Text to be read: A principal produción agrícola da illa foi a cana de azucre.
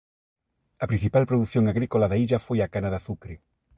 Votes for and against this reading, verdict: 2, 0, accepted